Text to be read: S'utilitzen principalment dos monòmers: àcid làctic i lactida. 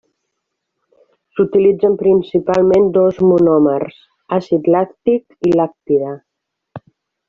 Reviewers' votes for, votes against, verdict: 1, 2, rejected